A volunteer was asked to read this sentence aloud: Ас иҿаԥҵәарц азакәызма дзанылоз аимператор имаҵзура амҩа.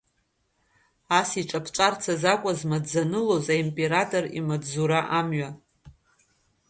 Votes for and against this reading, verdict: 2, 0, accepted